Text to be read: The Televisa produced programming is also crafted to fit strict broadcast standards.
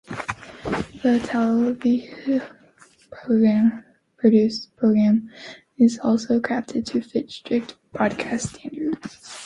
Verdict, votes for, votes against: accepted, 2, 0